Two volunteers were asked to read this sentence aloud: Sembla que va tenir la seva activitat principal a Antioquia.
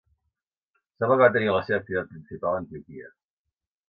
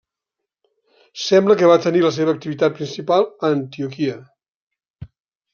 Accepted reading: second